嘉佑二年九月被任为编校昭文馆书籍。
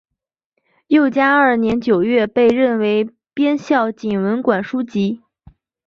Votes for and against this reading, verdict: 0, 2, rejected